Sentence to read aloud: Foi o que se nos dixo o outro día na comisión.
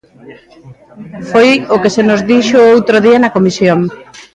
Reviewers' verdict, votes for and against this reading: rejected, 0, 2